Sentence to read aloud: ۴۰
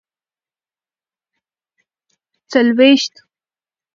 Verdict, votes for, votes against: rejected, 0, 2